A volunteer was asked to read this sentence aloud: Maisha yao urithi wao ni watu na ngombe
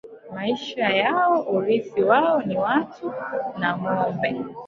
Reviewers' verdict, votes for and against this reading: rejected, 0, 3